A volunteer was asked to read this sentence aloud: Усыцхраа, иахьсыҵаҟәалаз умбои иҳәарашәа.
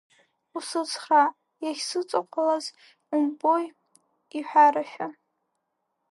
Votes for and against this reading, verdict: 1, 3, rejected